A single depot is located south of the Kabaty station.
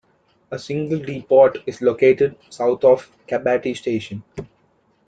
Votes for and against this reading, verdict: 0, 2, rejected